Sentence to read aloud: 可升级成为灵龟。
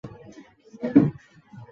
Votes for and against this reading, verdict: 0, 2, rejected